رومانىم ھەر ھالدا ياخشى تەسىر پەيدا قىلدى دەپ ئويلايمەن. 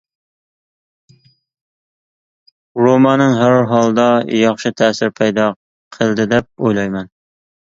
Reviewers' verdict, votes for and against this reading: accepted, 2, 1